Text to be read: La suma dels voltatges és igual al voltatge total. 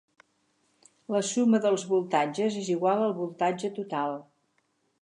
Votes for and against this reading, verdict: 6, 0, accepted